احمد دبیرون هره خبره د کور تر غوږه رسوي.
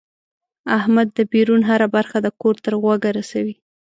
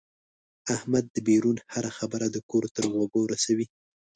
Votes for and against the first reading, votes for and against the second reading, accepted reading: 1, 4, 2, 0, second